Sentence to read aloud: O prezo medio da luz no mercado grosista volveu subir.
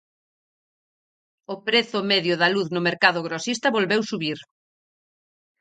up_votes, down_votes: 4, 0